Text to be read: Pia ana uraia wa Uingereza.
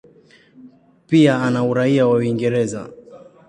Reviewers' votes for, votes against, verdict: 2, 0, accepted